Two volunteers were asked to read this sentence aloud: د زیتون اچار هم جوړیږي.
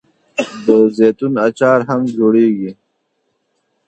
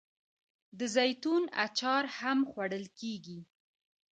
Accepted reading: first